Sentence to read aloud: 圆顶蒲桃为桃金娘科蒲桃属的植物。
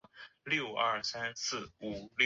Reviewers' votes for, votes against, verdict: 0, 3, rejected